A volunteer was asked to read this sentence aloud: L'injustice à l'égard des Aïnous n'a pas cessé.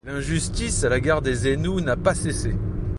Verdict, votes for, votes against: rejected, 0, 2